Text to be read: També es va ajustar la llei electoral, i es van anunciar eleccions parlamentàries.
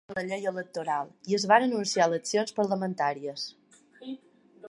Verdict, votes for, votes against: rejected, 1, 2